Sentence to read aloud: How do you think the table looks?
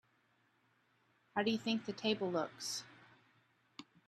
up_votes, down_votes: 3, 0